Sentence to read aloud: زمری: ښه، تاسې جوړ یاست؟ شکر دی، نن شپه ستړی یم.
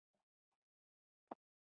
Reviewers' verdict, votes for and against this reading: accepted, 2, 1